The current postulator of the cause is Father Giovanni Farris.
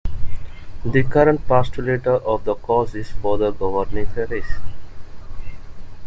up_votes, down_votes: 0, 2